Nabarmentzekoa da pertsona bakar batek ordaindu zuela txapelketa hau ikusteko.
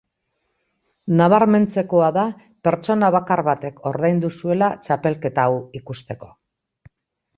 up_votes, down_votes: 2, 0